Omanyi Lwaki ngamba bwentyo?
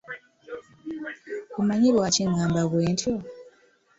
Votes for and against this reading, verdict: 2, 0, accepted